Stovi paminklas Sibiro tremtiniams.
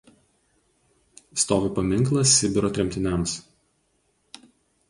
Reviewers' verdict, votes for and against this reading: accepted, 4, 0